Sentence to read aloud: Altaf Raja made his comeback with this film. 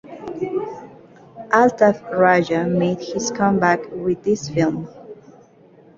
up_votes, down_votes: 2, 0